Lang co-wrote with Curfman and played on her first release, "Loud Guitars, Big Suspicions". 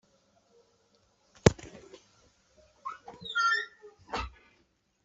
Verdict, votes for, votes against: rejected, 0, 2